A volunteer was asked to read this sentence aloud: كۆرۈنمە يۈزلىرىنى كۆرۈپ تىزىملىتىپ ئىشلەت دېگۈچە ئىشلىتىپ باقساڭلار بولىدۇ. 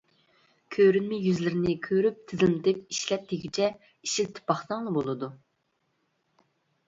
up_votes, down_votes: 1, 2